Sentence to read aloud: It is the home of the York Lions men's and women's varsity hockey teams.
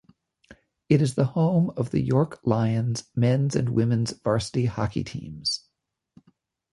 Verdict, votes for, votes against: accepted, 2, 0